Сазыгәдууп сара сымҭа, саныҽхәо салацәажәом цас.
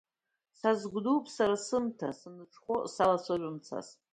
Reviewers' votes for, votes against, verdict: 2, 1, accepted